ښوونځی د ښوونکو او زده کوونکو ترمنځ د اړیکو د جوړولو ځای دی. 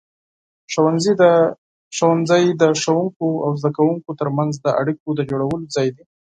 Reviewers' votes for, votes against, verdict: 4, 2, accepted